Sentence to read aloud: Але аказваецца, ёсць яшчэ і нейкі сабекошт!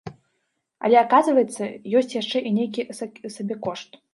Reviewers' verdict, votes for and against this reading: rejected, 0, 2